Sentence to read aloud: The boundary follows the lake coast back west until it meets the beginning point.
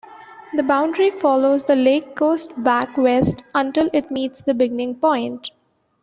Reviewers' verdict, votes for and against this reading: accepted, 2, 0